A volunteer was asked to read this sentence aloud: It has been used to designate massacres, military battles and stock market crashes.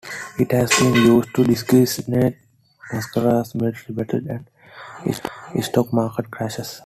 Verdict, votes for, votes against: accepted, 2, 1